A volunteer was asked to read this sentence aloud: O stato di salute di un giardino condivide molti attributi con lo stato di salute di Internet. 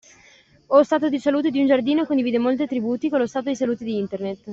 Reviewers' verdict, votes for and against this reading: accepted, 2, 0